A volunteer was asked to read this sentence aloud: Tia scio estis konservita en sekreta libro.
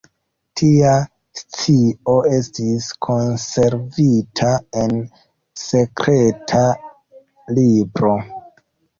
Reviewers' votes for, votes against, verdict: 2, 0, accepted